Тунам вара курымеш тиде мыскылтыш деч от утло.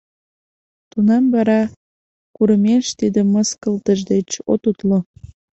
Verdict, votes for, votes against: accepted, 2, 0